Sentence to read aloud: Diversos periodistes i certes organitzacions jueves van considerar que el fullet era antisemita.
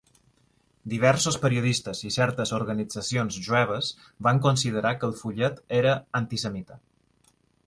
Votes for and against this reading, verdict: 3, 0, accepted